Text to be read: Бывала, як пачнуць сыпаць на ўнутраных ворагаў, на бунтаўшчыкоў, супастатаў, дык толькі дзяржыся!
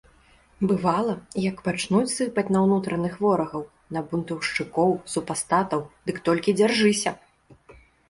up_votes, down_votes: 2, 0